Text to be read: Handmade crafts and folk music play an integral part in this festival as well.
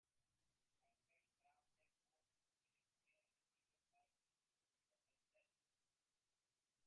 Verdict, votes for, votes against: rejected, 1, 2